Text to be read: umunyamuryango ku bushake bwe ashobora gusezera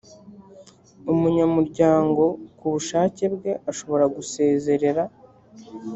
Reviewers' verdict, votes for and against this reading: rejected, 0, 3